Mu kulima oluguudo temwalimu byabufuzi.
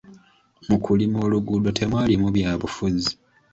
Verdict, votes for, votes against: accepted, 2, 0